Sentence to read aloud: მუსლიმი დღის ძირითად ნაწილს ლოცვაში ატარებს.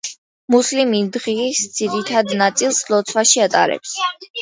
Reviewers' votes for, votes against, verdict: 2, 0, accepted